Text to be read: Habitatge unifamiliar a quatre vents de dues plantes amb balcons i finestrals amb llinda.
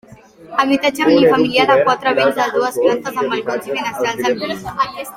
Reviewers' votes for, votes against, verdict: 1, 2, rejected